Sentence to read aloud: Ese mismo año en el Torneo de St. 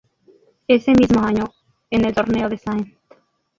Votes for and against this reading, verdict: 0, 2, rejected